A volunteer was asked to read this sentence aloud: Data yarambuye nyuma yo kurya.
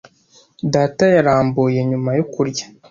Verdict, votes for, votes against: accepted, 2, 0